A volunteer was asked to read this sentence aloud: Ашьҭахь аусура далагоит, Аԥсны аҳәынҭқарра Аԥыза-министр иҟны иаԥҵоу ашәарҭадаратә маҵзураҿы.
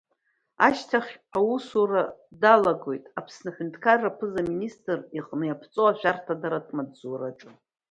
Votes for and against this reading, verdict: 2, 0, accepted